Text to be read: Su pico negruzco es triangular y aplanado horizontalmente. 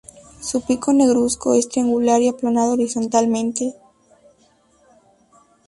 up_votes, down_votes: 2, 0